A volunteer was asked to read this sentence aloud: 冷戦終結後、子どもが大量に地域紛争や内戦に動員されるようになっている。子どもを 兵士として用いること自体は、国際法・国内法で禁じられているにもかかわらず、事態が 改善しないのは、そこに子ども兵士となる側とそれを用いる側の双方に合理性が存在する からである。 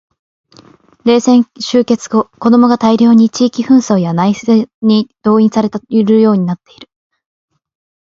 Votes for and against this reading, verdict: 0, 2, rejected